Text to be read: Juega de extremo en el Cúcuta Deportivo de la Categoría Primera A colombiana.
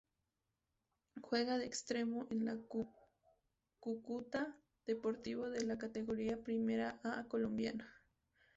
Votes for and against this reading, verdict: 0, 2, rejected